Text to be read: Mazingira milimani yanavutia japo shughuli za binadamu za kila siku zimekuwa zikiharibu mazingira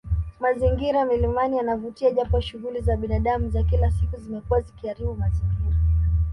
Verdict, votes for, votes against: accepted, 2, 0